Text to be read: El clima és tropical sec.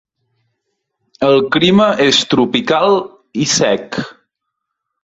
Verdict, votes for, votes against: rejected, 0, 2